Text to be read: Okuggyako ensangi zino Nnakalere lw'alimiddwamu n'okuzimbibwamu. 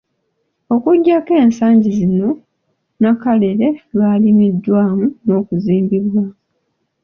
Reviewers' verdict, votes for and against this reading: accepted, 2, 0